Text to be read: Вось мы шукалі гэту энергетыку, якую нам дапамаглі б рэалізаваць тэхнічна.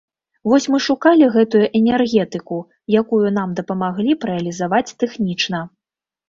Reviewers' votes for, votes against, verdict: 3, 0, accepted